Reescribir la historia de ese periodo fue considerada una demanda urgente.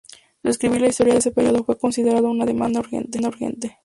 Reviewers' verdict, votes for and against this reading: rejected, 0, 2